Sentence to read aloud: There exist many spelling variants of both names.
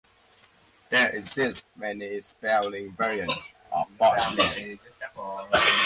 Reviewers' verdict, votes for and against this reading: rejected, 0, 2